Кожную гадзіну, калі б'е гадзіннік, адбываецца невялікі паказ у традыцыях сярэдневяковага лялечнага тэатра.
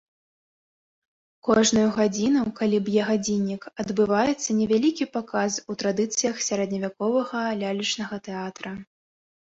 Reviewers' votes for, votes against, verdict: 2, 0, accepted